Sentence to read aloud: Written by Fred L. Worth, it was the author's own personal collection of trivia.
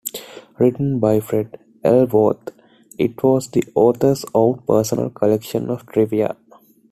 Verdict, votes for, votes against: accepted, 2, 0